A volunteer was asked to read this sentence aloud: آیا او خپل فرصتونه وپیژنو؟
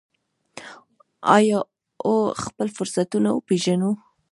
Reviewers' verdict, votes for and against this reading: accepted, 2, 0